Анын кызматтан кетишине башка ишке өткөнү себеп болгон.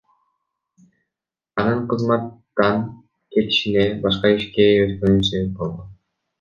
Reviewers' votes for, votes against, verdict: 1, 2, rejected